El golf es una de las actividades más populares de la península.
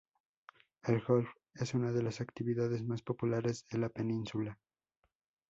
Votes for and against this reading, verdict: 2, 0, accepted